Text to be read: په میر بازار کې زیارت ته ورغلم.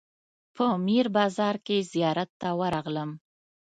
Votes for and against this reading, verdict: 2, 0, accepted